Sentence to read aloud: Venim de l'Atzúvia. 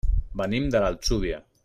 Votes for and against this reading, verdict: 2, 0, accepted